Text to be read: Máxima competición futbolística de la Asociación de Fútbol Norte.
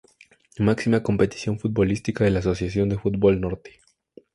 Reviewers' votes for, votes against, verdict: 4, 0, accepted